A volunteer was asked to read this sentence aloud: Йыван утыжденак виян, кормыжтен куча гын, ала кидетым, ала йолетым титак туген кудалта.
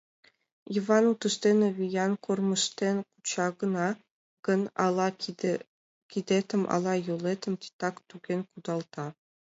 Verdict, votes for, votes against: accepted, 2, 1